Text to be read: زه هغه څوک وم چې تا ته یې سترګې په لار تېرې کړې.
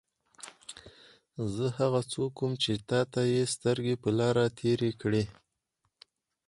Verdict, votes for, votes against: accepted, 4, 0